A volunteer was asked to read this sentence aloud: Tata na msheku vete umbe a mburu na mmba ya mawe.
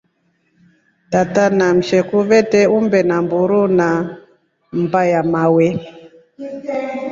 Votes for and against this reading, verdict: 2, 0, accepted